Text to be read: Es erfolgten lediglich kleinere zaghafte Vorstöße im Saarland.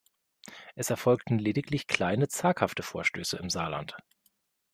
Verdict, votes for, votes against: rejected, 0, 2